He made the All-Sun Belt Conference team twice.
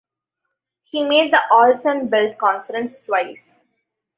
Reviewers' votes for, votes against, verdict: 0, 2, rejected